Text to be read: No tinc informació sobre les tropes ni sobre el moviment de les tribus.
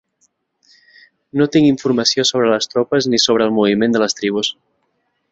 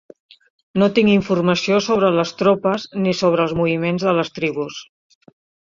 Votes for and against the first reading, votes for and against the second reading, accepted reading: 3, 0, 1, 3, first